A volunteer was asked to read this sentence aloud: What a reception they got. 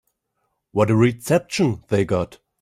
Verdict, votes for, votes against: accepted, 2, 1